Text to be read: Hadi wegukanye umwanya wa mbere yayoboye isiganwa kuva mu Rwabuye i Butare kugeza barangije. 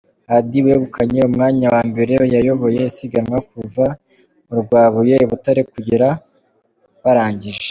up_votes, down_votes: 1, 2